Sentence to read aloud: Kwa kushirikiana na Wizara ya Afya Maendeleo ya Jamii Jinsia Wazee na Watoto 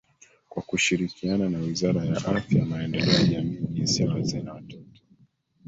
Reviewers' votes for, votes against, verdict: 0, 2, rejected